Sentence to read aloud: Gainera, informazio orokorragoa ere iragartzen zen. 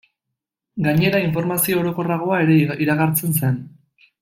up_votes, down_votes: 0, 2